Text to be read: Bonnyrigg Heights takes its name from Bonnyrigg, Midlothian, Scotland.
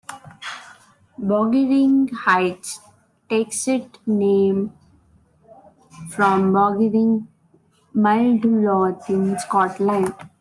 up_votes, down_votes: 1, 2